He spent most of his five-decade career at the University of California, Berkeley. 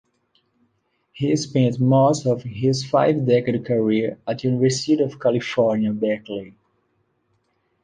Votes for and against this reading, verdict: 2, 0, accepted